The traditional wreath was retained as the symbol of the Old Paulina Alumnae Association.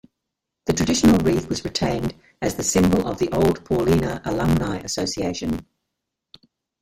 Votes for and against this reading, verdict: 1, 2, rejected